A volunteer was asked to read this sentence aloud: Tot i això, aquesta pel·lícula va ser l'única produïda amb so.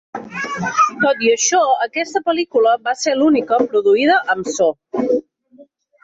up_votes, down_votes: 5, 2